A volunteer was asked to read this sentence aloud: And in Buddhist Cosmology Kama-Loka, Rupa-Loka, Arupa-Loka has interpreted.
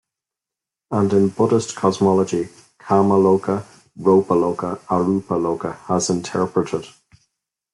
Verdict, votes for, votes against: accepted, 2, 0